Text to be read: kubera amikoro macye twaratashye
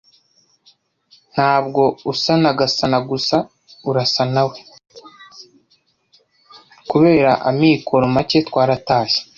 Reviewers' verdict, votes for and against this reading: rejected, 1, 2